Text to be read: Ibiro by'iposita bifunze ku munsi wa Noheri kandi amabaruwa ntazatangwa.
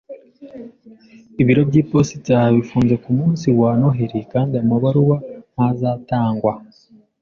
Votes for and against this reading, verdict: 2, 0, accepted